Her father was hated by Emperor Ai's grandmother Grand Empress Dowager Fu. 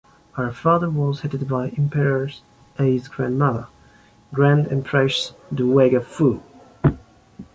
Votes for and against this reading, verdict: 2, 0, accepted